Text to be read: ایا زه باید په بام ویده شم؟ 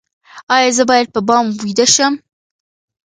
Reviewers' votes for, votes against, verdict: 2, 1, accepted